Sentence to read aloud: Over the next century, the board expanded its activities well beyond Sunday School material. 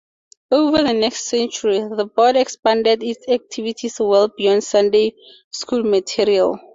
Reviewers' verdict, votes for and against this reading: accepted, 2, 0